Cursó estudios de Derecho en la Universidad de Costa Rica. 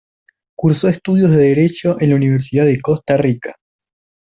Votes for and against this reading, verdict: 2, 0, accepted